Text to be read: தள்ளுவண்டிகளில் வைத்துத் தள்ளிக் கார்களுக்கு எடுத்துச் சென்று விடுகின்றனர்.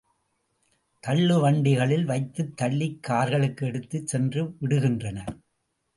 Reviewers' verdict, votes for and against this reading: accepted, 2, 0